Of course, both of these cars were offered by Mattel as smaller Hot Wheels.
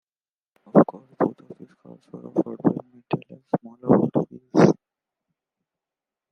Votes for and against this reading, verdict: 0, 2, rejected